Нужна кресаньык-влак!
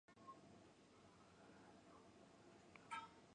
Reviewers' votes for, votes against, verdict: 0, 2, rejected